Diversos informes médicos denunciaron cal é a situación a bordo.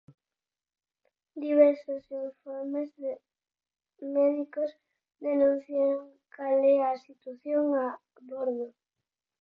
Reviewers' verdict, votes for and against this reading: rejected, 0, 4